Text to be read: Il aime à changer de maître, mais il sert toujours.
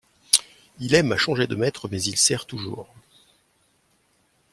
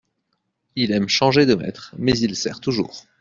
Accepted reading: first